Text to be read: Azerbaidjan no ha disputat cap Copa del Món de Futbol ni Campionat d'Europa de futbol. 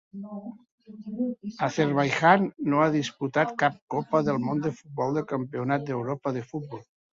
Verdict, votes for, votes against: rejected, 1, 2